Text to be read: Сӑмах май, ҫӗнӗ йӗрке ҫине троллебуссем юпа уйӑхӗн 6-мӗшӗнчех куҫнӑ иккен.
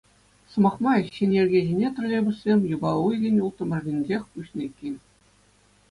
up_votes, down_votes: 0, 2